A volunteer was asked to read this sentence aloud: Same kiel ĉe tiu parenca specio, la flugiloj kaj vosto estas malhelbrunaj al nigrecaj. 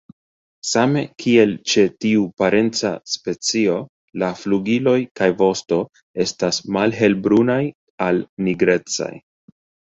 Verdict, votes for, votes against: rejected, 1, 2